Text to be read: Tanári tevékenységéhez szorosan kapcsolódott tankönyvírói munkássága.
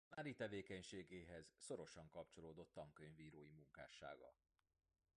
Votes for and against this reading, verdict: 1, 2, rejected